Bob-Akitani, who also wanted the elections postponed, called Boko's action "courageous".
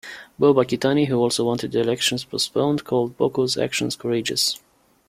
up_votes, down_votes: 2, 0